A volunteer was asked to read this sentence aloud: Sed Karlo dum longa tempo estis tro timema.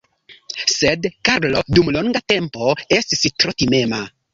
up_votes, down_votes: 2, 3